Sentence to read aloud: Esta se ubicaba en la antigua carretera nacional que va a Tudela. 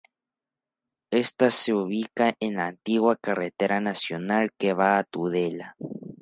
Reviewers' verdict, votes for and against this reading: rejected, 0, 2